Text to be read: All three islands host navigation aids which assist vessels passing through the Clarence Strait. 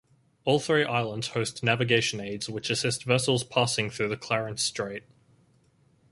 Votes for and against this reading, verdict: 4, 0, accepted